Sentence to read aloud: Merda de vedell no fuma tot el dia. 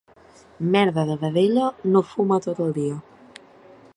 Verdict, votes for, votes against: rejected, 0, 2